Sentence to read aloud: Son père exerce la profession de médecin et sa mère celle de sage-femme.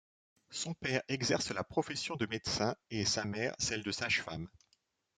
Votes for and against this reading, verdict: 2, 0, accepted